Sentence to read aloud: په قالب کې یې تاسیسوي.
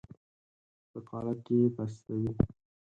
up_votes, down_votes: 2, 4